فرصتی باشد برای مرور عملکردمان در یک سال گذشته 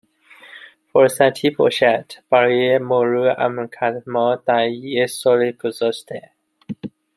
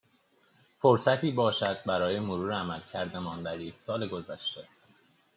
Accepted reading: second